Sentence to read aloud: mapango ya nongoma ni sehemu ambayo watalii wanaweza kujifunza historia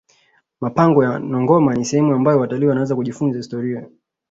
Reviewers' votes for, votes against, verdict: 2, 0, accepted